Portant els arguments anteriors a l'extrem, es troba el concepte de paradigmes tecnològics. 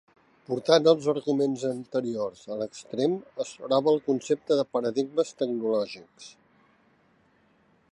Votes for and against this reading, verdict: 3, 0, accepted